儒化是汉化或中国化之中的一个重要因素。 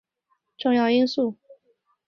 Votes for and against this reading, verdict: 3, 7, rejected